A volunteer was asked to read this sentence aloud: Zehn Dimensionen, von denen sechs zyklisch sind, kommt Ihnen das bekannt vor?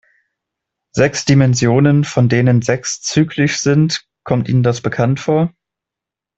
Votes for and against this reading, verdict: 0, 2, rejected